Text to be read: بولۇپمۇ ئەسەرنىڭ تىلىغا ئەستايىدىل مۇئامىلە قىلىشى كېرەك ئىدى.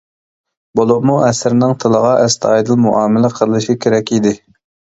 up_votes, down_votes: 2, 1